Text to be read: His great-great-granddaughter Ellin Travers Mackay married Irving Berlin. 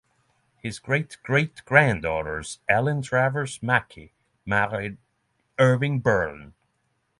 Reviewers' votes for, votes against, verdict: 3, 6, rejected